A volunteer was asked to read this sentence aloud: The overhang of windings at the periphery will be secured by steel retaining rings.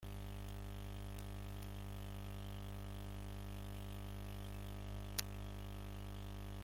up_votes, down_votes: 0, 2